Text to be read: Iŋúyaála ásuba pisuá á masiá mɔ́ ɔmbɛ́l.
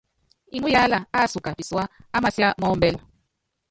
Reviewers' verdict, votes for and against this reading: rejected, 0, 2